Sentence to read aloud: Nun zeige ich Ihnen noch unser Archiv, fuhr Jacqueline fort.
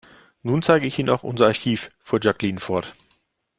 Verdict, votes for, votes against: rejected, 0, 2